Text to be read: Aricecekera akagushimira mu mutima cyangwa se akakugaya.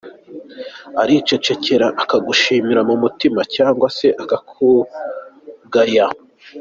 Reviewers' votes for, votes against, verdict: 2, 1, accepted